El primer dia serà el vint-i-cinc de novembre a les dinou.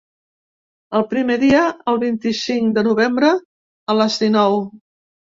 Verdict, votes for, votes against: rejected, 1, 2